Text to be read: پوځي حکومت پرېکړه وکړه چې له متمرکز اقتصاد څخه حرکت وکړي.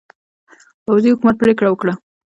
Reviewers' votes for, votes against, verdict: 1, 2, rejected